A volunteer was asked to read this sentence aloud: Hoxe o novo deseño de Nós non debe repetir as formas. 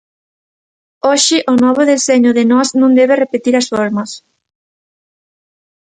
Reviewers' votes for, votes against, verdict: 2, 0, accepted